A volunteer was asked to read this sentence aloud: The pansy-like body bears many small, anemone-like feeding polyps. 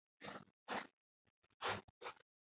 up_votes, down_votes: 0, 2